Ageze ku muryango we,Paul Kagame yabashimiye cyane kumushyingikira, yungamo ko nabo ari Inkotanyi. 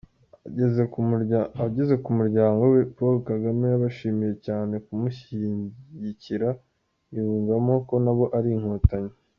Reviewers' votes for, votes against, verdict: 0, 2, rejected